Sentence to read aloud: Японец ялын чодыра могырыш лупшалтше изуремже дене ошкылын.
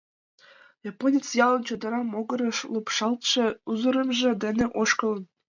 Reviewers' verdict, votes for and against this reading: rejected, 0, 2